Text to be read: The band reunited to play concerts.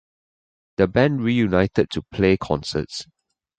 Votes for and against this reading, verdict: 2, 1, accepted